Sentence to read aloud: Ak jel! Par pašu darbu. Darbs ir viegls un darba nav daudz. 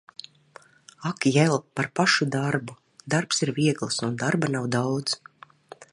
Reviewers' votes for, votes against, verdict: 2, 0, accepted